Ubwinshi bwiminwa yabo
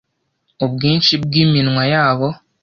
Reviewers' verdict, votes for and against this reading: accepted, 2, 0